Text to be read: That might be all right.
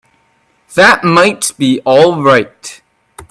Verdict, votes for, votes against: accepted, 2, 0